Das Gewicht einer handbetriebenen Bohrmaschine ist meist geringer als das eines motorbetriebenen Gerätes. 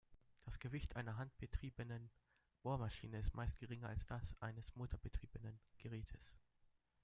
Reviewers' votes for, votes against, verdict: 1, 2, rejected